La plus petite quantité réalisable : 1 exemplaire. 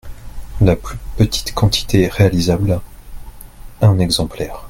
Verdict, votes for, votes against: rejected, 0, 2